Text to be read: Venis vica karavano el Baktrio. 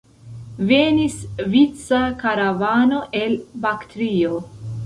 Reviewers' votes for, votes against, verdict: 2, 0, accepted